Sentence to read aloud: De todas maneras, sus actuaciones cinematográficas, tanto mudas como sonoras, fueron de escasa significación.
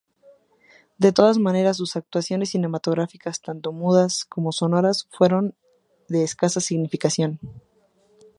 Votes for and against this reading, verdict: 2, 0, accepted